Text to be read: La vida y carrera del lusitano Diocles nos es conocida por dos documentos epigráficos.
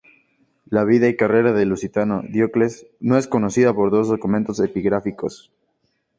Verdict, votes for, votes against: accepted, 2, 0